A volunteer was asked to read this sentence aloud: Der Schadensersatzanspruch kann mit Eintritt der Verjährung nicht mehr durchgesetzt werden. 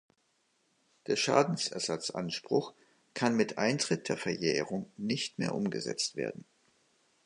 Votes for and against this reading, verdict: 0, 2, rejected